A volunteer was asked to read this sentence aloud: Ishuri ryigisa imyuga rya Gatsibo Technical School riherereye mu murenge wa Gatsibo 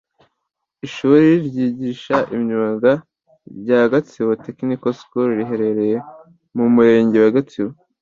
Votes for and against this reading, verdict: 2, 1, accepted